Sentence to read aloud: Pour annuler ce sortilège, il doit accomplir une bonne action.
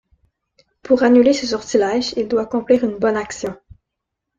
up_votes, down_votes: 2, 0